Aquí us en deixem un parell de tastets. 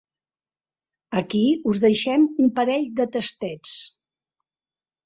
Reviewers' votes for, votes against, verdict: 0, 2, rejected